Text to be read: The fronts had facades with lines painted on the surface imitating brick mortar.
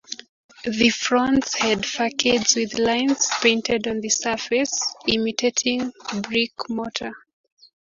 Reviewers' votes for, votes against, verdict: 0, 2, rejected